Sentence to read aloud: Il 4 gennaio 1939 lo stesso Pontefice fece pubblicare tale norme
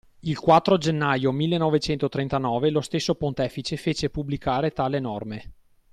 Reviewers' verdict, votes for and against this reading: rejected, 0, 2